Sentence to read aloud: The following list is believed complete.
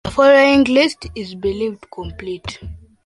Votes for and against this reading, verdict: 2, 1, accepted